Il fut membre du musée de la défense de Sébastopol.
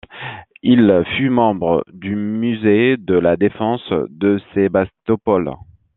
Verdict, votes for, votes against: accepted, 2, 0